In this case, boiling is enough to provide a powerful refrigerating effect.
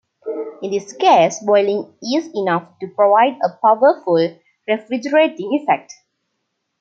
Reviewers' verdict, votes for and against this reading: accepted, 3, 0